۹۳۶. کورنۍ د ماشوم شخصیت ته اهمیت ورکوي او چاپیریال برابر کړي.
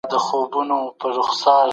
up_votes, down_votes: 0, 2